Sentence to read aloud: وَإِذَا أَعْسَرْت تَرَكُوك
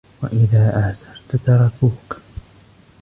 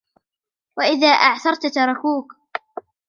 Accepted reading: second